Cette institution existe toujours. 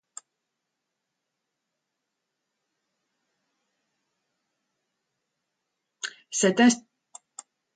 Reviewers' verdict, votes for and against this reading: rejected, 0, 2